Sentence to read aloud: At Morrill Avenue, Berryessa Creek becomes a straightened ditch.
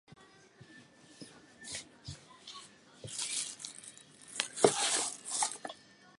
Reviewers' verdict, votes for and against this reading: rejected, 0, 8